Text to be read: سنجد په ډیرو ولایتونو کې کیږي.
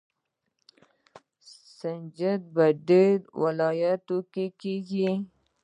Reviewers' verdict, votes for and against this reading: rejected, 1, 2